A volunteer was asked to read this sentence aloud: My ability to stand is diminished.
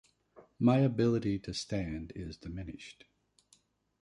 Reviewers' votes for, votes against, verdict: 0, 2, rejected